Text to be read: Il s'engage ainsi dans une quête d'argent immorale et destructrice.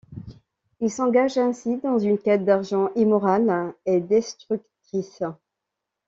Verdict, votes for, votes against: accepted, 2, 0